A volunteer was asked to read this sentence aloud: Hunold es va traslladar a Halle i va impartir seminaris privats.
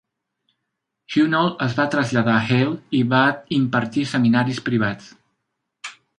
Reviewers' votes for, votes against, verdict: 2, 0, accepted